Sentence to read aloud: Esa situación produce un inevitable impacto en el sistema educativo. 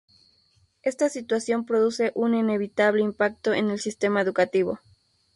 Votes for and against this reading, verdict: 0, 2, rejected